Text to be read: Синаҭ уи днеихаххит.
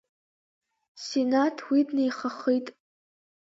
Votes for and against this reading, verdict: 1, 2, rejected